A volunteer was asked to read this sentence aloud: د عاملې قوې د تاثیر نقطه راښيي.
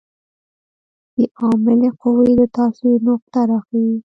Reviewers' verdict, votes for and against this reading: accepted, 2, 0